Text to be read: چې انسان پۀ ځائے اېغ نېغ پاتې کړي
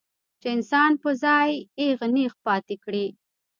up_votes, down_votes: 0, 2